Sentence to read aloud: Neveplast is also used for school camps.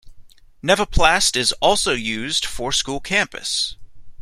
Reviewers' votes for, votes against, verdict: 1, 2, rejected